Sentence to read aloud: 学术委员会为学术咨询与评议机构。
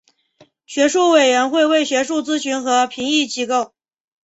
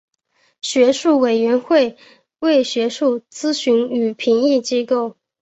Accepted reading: second